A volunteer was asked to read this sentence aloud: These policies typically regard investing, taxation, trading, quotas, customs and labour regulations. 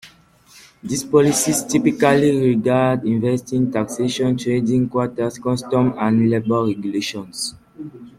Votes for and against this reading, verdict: 0, 2, rejected